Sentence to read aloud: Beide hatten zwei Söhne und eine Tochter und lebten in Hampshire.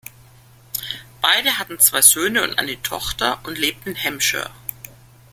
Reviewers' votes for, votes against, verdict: 1, 2, rejected